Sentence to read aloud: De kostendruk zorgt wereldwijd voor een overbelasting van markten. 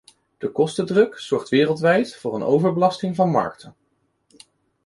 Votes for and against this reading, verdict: 2, 0, accepted